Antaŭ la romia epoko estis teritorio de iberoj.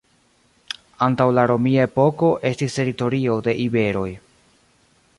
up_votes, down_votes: 2, 0